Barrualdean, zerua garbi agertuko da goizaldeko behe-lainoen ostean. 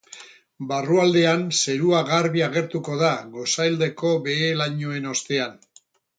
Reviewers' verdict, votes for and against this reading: rejected, 0, 6